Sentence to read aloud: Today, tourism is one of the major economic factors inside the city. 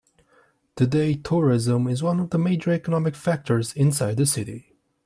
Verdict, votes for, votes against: accepted, 2, 0